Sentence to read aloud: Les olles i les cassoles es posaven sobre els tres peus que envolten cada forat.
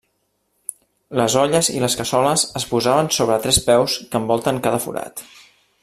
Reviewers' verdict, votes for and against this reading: rejected, 0, 2